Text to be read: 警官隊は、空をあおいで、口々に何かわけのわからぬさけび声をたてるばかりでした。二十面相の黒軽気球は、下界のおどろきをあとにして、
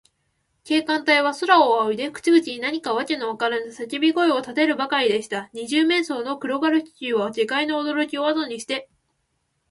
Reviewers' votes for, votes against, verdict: 2, 0, accepted